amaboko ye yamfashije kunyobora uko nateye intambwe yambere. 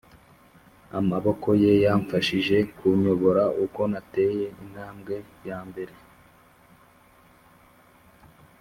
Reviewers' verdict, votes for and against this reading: accepted, 3, 0